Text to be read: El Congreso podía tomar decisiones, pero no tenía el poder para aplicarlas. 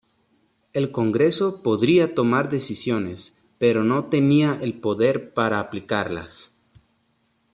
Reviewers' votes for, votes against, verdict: 0, 3, rejected